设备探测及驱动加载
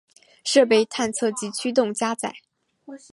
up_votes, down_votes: 7, 0